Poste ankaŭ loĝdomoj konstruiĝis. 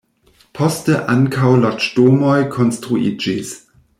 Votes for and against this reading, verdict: 1, 2, rejected